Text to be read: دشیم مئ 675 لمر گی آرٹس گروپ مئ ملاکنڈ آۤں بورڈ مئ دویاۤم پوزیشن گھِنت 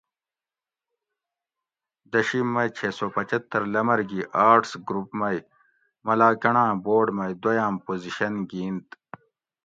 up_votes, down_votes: 0, 2